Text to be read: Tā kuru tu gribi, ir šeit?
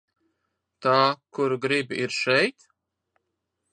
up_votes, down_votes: 0, 3